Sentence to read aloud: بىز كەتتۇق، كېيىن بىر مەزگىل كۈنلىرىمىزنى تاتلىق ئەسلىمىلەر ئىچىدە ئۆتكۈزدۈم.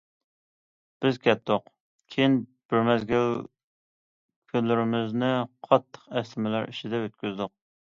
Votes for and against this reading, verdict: 1, 2, rejected